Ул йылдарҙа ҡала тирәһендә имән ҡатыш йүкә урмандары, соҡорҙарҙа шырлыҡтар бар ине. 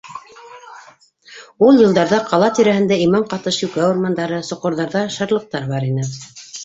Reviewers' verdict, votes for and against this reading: rejected, 1, 2